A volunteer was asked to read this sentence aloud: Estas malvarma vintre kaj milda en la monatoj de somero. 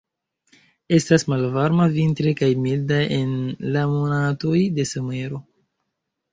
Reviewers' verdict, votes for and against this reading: accepted, 2, 1